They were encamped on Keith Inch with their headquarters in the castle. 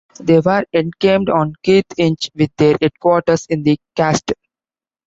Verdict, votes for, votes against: rejected, 0, 2